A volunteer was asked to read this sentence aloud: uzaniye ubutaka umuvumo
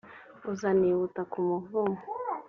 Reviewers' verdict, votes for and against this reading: accepted, 2, 0